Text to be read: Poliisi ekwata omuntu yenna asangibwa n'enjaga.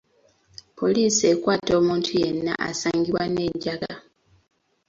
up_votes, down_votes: 2, 0